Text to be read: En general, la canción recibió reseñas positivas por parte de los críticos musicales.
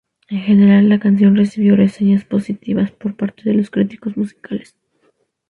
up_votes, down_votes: 2, 0